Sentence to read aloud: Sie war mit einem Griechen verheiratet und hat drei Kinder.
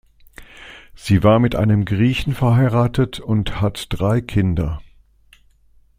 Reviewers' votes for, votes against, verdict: 2, 0, accepted